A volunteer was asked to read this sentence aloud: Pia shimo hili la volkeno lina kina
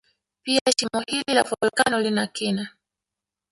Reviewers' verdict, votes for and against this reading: accepted, 2, 0